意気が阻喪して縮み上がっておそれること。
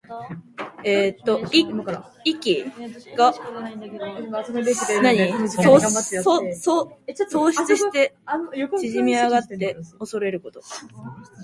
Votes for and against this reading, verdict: 0, 2, rejected